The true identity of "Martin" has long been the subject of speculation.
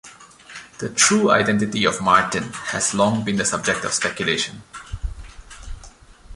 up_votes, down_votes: 2, 0